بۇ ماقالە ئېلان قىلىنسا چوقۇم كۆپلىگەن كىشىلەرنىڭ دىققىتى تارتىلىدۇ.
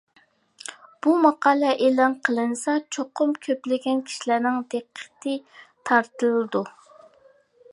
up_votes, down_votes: 2, 0